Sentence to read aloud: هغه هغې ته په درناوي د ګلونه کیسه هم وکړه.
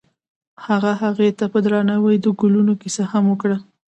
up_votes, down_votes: 2, 0